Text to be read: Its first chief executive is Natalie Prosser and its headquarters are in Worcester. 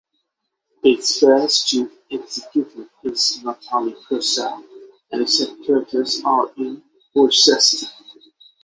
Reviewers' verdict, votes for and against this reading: rejected, 0, 6